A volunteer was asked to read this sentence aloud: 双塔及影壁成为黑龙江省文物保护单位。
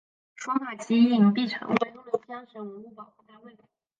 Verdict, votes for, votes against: rejected, 0, 4